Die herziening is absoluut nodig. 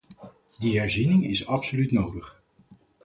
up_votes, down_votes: 4, 0